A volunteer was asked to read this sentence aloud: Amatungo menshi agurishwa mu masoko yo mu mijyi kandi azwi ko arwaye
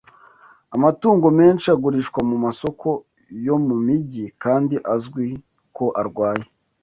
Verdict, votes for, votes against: accepted, 2, 0